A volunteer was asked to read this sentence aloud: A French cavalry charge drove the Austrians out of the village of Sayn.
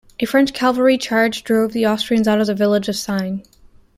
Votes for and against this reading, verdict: 1, 2, rejected